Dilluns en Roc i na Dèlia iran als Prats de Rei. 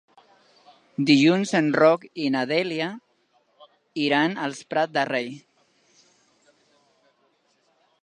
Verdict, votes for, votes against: rejected, 1, 2